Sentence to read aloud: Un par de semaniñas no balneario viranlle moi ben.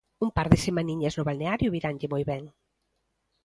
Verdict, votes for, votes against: accepted, 2, 0